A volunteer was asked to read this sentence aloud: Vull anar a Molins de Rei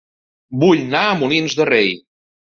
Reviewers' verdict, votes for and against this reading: rejected, 1, 4